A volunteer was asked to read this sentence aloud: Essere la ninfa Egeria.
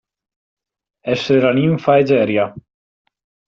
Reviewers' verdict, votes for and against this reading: accepted, 2, 0